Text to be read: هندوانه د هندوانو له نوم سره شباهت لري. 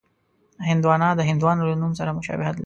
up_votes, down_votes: 1, 2